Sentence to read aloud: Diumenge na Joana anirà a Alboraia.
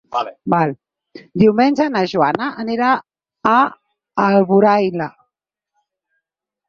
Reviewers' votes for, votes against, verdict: 0, 4, rejected